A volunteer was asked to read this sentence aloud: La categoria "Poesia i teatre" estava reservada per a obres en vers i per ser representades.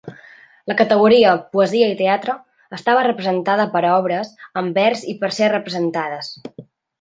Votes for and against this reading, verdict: 0, 2, rejected